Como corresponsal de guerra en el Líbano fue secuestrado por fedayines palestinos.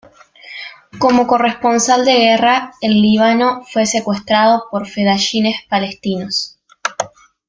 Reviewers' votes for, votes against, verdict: 1, 2, rejected